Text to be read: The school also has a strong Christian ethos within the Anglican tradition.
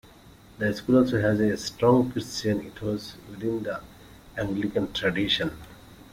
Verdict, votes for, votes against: rejected, 1, 2